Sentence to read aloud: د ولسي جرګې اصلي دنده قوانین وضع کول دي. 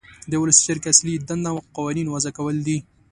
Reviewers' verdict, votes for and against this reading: accepted, 2, 0